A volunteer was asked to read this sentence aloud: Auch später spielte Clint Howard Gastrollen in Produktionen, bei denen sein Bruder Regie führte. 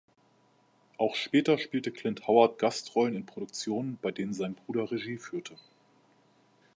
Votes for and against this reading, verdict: 2, 0, accepted